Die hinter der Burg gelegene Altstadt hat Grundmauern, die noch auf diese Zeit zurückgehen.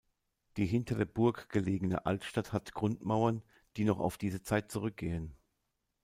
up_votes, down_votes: 0, 2